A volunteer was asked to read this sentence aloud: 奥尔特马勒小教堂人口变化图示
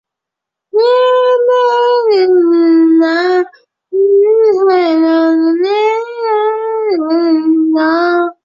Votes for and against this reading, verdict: 0, 2, rejected